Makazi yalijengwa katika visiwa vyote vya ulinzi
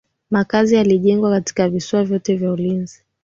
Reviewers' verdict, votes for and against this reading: accepted, 4, 0